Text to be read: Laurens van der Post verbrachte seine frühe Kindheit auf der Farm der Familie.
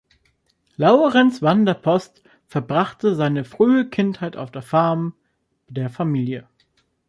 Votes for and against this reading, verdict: 2, 0, accepted